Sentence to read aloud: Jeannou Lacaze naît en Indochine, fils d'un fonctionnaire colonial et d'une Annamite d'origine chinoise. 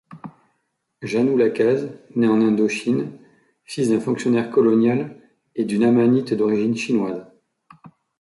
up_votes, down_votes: 0, 2